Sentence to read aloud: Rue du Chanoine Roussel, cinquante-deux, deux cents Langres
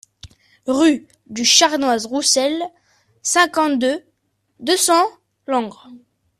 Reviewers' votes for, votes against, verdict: 0, 2, rejected